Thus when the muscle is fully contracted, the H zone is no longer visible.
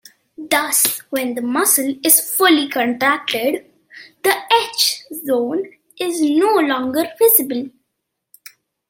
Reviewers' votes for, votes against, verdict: 2, 0, accepted